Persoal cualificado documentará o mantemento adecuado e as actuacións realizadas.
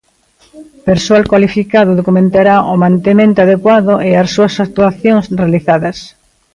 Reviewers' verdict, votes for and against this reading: rejected, 0, 2